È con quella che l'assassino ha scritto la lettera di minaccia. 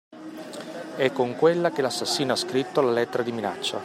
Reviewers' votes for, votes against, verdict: 2, 1, accepted